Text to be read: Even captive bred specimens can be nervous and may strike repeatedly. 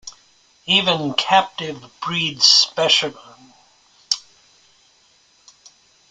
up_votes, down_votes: 0, 2